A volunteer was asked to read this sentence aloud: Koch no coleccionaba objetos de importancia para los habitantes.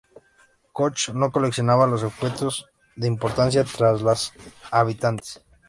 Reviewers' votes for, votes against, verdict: 0, 2, rejected